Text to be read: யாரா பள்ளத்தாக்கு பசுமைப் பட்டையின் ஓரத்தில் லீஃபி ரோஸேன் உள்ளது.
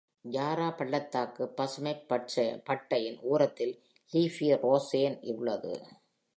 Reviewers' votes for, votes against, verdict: 0, 2, rejected